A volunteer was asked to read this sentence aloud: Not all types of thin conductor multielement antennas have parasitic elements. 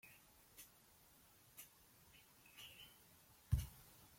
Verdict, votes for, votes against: rejected, 0, 2